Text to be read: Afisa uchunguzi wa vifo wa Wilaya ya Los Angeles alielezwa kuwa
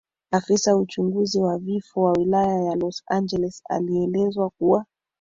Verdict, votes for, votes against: rejected, 1, 3